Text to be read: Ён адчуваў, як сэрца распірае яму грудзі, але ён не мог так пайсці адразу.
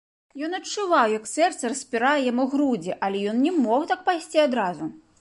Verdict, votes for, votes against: accepted, 2, 0